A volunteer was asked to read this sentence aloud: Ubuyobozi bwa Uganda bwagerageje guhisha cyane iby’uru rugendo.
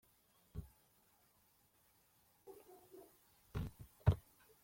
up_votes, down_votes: 0, 2